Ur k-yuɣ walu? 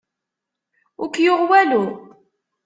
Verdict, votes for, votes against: rejected, 1, 2